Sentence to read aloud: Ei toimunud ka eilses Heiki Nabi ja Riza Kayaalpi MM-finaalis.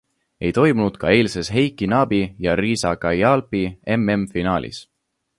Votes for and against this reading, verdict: 2, 0, accepted